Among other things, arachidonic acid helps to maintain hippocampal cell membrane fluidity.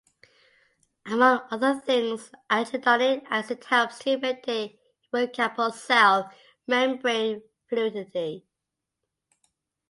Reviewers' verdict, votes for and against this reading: rejected, 1, 2